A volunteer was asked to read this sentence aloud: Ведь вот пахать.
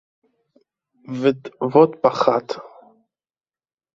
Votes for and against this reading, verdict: 0, 2, rejected